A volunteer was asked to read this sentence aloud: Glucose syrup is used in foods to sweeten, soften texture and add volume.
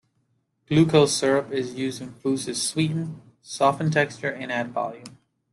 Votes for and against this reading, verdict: 2, 0, accepted